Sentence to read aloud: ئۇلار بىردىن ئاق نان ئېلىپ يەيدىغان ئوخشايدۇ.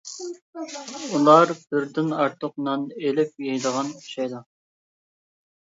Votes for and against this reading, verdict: 1, 2, rejected